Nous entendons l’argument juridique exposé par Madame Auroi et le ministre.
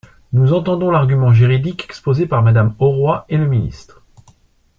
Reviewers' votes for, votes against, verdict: 2, 0, accepted